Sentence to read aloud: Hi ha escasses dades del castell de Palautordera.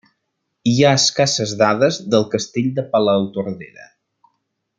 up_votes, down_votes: 3, 0